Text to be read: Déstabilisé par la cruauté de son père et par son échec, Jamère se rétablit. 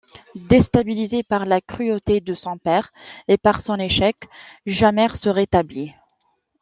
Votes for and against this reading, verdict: 2, 0, accepted